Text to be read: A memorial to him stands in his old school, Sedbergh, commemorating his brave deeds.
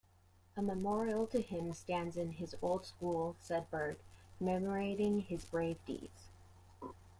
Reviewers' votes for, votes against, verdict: 0, 2, rejected